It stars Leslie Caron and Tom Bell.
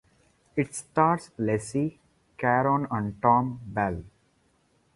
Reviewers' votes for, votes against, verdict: 2, 0, accepted